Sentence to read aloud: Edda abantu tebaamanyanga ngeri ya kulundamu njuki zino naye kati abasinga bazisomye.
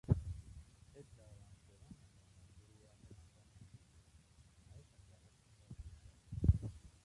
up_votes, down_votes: 0, 2